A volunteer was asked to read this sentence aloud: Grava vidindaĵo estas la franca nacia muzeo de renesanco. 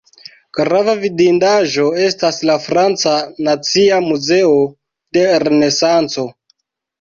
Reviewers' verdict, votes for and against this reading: accepted, 2, 0